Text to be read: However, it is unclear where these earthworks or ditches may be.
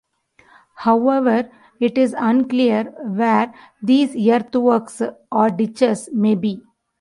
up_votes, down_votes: 1, 2